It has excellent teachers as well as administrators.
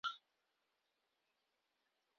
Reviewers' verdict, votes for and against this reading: rejected, 0, 2